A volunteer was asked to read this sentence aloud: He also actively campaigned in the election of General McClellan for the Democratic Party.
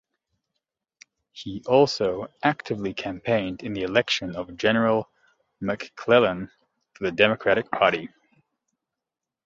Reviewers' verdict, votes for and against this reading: accepted, 2, 0